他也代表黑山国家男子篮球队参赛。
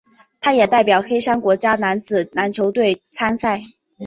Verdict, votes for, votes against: accepted, 3, 0